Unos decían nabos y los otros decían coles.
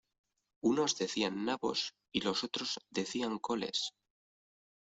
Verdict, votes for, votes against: rejected, 0, 2